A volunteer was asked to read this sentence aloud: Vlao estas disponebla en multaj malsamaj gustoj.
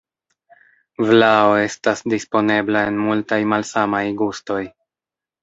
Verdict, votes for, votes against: accepted, 2, 0